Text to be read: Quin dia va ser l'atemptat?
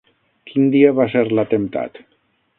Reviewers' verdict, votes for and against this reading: accepted, 9, 0